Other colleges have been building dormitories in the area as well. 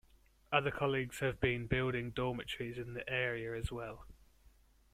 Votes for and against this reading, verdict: 1, 2, rejected